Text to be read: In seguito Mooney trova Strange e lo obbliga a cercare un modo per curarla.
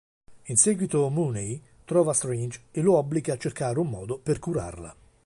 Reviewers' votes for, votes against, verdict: 2, 0, accepted